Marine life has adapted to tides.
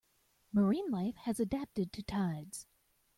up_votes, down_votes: 2, 0